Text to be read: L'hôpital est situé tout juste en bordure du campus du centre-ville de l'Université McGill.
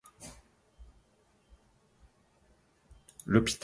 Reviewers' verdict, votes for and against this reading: rejected, 0, 2